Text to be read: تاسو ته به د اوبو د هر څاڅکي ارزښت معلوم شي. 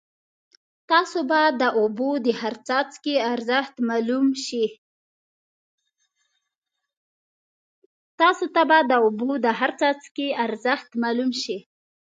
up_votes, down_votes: 0, 2